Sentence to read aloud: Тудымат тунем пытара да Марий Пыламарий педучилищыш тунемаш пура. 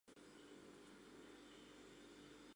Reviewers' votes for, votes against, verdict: 1, 2, rejected